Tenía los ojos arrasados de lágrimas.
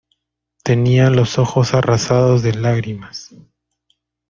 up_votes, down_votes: 2, 0